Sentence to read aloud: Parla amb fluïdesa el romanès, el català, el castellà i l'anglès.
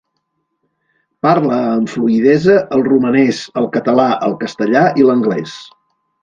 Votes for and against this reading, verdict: 2, 0, accepted